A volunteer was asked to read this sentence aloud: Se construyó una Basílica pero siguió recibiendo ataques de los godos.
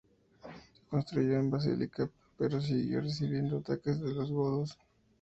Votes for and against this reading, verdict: 0, 2, rejected